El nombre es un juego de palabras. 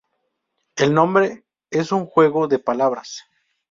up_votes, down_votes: 2, 0